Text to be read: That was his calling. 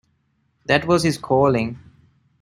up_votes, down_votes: 2, 0